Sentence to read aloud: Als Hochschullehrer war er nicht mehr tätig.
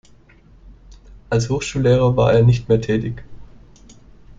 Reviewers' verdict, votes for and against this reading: accepted, 2, 0